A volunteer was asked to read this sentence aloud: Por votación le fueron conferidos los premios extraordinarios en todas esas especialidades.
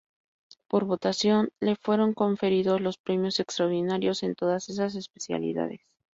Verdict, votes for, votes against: accepted, 2, 0